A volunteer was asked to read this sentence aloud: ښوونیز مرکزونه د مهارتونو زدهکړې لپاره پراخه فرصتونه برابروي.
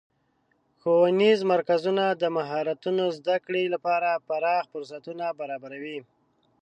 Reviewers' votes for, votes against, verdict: 2, 0, accepted